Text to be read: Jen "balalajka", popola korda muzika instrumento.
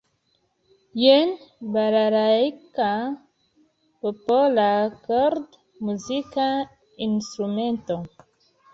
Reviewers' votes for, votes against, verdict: 0, 2, rejected